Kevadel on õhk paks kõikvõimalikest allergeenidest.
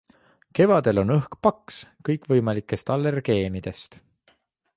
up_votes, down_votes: 2, 0